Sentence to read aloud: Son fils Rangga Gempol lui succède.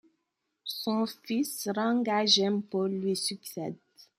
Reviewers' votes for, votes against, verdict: 2, 0, accepted